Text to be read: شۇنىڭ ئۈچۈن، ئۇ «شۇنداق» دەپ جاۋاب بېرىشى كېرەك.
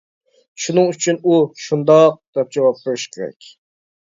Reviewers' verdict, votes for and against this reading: accepted, 2, 1